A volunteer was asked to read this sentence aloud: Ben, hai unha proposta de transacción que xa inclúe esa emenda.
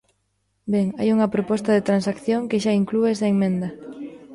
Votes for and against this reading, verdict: 1, 2, rejected